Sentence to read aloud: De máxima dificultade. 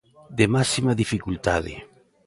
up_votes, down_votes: 3, 0